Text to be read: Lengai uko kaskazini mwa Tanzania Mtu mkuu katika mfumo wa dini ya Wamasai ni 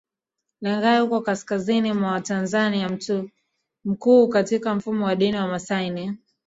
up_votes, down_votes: 0, 2